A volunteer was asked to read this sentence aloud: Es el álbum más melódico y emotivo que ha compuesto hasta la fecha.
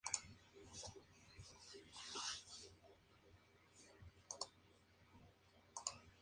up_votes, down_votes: 0, 2